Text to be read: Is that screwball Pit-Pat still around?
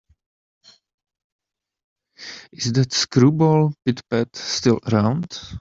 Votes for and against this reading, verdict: 0, 2, rejected